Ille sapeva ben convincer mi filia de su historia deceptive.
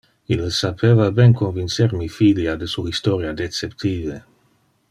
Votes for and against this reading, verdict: 2, 0, accepted